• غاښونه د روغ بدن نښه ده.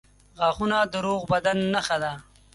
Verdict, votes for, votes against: accepted, 4, 0